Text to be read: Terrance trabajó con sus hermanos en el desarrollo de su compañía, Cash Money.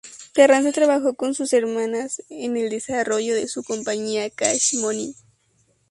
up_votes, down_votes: 0, 2